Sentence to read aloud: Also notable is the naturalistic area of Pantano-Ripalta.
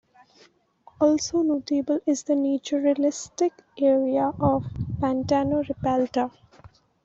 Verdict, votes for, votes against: rejected, 0, 2